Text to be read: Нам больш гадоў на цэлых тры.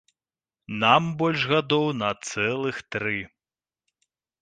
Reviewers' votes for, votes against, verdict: 2, 0, accepted